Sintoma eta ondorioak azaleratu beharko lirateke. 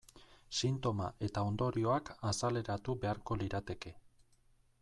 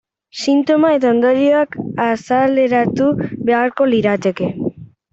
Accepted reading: first